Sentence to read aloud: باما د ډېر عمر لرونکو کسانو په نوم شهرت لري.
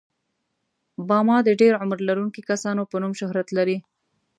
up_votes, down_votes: 2, 0